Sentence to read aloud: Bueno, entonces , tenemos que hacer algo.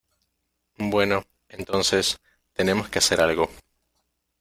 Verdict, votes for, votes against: accepted, 2, 0